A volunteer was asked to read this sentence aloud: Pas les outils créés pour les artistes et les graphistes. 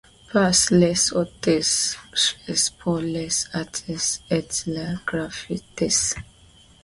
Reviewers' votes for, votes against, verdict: 2, 1, accepted